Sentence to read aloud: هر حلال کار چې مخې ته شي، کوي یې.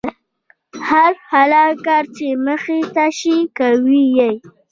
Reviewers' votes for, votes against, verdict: 1, 2, rejected